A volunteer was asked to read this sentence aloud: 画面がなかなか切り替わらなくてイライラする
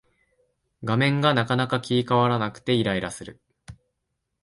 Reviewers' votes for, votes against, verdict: 2, 0, accepted